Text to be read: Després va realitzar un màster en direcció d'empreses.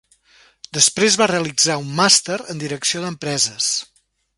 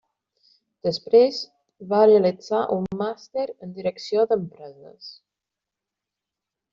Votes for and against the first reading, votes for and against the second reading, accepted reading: 3, 0, 1, 2, first